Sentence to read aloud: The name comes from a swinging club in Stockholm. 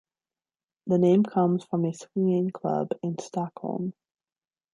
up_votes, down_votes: 2, 0